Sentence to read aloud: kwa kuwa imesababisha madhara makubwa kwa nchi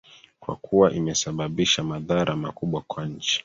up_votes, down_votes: 2, 0